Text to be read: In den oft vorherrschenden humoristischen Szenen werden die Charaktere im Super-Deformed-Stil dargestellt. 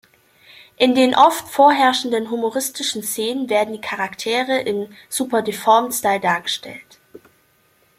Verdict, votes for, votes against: rejected, 1, 2